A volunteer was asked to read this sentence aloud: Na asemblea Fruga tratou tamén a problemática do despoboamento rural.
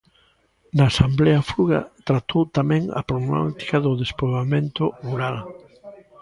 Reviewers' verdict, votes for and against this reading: rejected, 0, 3